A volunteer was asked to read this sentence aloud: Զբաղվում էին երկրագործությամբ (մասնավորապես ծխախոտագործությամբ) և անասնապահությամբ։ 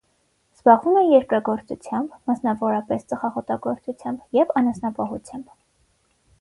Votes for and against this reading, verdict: 3, 6, rejected